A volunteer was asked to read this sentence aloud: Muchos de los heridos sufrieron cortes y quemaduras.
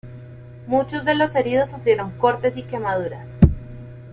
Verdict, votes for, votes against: accepted, 2, 0